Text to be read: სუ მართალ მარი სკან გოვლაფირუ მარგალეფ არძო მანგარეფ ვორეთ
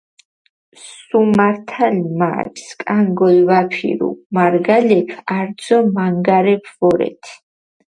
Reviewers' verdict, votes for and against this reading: rejected, 0, 4